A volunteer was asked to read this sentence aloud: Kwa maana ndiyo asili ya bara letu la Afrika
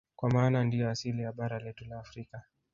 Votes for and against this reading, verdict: 0, 2, rejected